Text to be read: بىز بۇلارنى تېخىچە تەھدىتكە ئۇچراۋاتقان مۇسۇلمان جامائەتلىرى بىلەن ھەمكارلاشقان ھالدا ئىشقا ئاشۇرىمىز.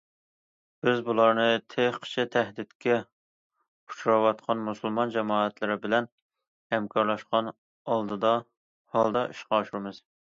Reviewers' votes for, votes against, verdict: 0, 2, rejected